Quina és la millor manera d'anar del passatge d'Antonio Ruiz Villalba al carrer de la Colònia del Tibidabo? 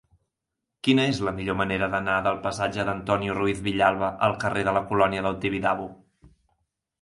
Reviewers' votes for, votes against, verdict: 2, 0, accepted